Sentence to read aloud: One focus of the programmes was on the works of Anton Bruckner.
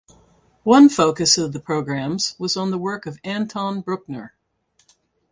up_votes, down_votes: 2, 2